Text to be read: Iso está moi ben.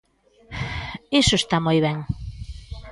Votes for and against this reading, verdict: 1, 2, rejected